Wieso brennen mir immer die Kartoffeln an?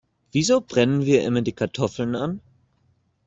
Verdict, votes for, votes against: rejected, 0, 2